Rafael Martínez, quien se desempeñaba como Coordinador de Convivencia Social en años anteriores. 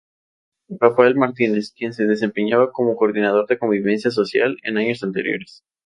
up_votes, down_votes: 2, 0